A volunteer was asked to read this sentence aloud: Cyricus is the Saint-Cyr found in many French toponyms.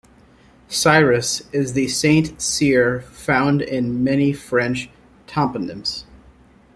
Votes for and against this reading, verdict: 1, 2, rejected